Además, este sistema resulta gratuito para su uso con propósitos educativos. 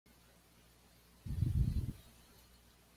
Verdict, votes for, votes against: rejected, 1, 2